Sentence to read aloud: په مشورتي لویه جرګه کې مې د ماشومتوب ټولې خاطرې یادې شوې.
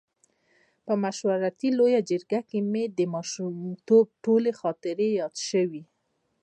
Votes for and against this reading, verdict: 2, 0, accepted